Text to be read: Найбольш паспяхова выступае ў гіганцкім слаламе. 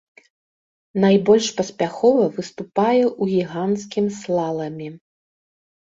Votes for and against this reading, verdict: 2, 0, accepted